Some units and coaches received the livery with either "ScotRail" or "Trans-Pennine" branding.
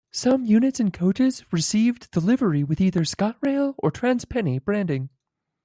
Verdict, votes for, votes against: accepted, 2, 0